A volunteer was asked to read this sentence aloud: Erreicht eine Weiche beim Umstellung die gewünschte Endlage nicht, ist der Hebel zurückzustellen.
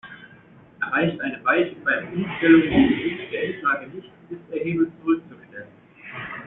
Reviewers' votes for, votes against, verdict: 0, 2, rejected